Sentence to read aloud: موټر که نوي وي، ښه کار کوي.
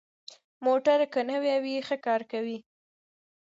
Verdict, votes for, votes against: rejected, 1, 2